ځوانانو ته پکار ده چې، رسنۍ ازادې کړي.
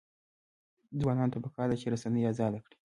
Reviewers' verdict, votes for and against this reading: rejected, 0, 2